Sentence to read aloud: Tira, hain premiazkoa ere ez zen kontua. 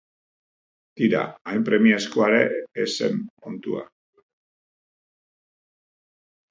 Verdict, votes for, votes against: accepted, 4, 0